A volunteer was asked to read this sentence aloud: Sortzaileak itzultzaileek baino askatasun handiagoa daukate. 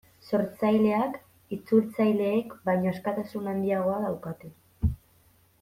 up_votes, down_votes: 0, 2